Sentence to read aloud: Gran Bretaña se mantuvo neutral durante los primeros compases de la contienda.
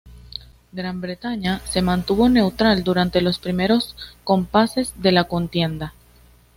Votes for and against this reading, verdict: 2, 0, accepted